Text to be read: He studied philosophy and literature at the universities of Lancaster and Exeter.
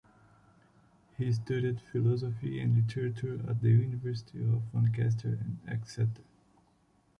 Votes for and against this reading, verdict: 2, 1, accepted